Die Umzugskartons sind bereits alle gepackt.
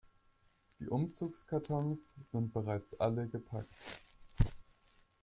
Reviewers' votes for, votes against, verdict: 2, 0, accepted